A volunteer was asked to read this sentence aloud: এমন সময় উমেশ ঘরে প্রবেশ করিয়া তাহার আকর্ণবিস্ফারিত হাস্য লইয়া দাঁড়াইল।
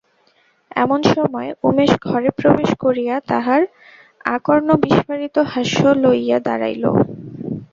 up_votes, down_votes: 2, 0